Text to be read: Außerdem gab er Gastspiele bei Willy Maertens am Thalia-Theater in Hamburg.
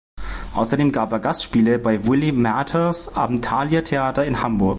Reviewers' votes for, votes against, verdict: 0, 2, rejected